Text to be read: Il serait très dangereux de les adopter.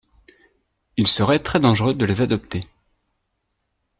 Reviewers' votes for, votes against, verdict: 2, 0, accepted